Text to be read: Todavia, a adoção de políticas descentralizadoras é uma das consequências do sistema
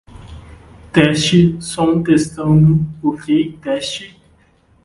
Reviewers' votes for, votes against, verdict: 0, 2, rejected